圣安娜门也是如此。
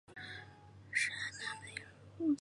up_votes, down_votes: 0, 2